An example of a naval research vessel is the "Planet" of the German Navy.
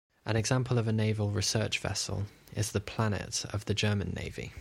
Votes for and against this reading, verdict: 2, 0, accepted